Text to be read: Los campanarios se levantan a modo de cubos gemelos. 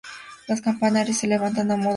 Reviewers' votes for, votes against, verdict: 0, 2, rejected